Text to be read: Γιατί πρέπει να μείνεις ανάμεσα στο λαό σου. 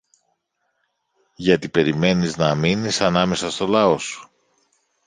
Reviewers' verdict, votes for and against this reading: rejected, 0, 2